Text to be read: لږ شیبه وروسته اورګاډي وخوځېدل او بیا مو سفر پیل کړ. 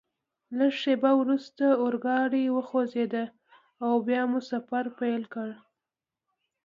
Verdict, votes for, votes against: accepted, 2, 0